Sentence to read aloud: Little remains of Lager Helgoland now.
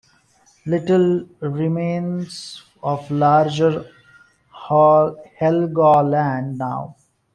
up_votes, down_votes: 0, 2